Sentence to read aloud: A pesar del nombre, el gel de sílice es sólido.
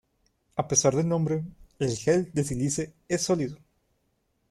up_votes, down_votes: 1, 2